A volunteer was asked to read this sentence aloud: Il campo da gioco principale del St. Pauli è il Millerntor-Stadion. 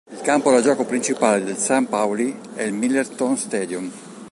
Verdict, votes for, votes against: rejected, 1, 2